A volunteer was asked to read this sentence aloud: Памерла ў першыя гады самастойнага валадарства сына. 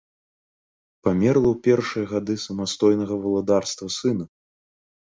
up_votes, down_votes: 2, 0